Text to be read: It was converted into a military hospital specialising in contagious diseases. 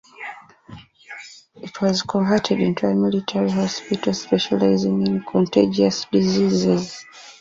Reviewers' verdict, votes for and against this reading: accepted, 2, 0